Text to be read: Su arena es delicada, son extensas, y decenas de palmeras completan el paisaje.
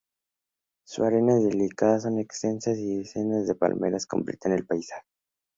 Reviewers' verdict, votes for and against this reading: accepted, 2, 0